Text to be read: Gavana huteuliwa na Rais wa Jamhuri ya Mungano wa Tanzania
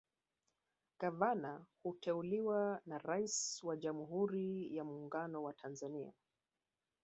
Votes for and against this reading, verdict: 6, 1, accepted